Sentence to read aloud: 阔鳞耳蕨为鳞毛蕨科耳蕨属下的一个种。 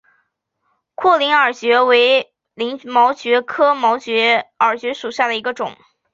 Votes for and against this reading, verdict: 2, 0, accepted